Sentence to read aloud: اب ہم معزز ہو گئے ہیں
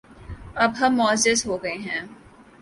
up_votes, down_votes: 4, 0